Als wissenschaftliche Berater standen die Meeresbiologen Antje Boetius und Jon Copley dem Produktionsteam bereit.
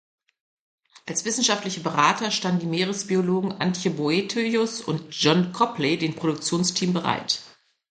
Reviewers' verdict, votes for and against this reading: rejected, 0, 2